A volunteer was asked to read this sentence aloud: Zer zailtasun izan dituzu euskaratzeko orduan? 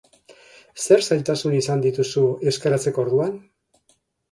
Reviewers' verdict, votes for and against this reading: rejected, 2, 2